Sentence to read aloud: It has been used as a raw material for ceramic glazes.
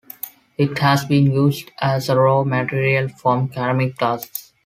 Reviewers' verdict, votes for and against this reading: accepted, 2, 1